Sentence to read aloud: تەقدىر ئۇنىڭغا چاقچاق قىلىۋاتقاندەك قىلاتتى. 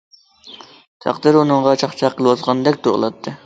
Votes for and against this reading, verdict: 0, 2, rejected